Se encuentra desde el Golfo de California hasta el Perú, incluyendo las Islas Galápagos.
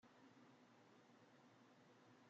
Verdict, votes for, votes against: rejected, 0, 2